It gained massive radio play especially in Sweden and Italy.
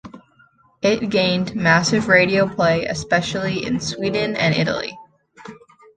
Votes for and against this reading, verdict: 2, 0, accepted